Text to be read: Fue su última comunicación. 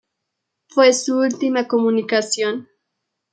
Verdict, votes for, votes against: accepted, 2, 0